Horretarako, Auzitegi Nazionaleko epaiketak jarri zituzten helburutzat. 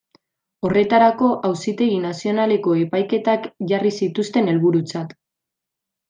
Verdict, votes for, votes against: accepted, 2, 0